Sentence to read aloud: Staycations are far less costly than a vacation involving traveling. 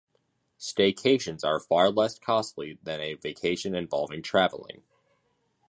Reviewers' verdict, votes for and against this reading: accepted, 2, 0